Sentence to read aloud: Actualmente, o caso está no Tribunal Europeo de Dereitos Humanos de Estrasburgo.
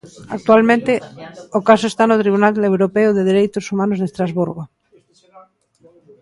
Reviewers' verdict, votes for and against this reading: rejected, 1, 2